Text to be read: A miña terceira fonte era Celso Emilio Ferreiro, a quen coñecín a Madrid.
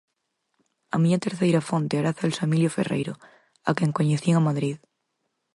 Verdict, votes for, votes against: accepted, 4, 0